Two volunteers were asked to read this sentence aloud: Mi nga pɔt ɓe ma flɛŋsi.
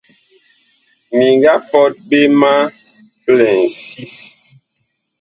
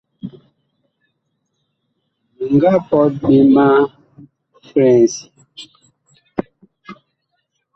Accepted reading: second